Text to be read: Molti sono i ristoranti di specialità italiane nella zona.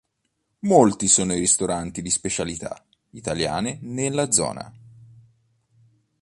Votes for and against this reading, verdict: 2, 0, accepted